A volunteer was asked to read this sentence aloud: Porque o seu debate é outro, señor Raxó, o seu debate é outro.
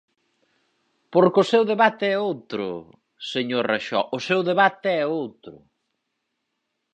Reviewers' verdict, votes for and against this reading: accepted, 4, 0